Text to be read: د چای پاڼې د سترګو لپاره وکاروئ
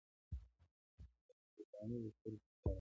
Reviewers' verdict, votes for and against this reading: rejected, 1, 2